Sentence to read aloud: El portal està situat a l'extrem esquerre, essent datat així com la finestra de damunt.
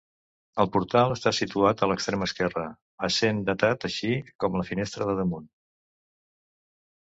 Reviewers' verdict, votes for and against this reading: accepted, 2, 0